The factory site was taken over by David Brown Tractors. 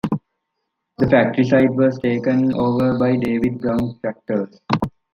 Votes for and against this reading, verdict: 2, 1, accepted